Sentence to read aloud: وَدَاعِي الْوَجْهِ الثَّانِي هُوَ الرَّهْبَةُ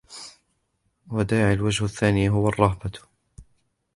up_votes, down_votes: 2, 1